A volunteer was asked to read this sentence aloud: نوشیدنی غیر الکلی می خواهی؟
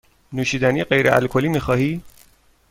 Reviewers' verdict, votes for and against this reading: accepted, 2, 0